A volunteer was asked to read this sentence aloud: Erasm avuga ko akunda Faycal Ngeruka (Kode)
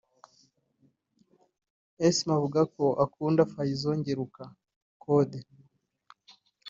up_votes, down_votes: 1, 2